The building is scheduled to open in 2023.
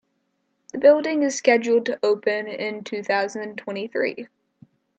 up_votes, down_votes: 0, 2